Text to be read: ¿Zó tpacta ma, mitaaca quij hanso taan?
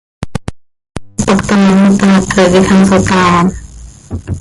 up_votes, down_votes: 0, 2